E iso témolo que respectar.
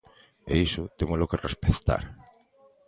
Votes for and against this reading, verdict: 2, 0, accepted